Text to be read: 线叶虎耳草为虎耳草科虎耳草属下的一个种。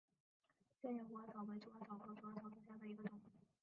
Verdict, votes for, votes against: rejected, 0, 2